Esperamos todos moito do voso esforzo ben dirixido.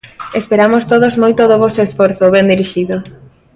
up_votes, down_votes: 2, 0